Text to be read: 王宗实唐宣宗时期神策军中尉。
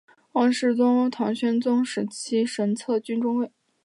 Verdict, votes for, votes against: accepted, 3, 0